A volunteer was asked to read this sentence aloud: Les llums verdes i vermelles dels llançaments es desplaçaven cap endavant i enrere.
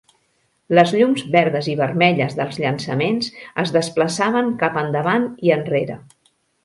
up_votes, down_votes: 2, 0